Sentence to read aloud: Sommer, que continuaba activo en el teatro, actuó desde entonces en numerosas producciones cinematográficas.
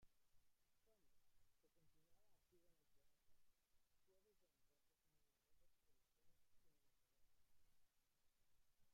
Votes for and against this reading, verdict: 0, 2, rejected